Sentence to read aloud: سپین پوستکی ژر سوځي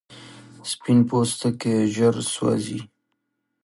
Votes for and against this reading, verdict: 1, 2, rejected